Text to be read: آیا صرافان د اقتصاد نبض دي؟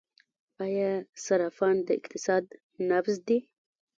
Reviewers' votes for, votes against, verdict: 1, 2, rejected